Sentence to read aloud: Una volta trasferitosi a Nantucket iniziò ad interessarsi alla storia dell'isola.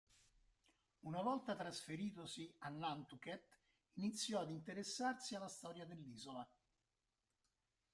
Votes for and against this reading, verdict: 1, 3, rejected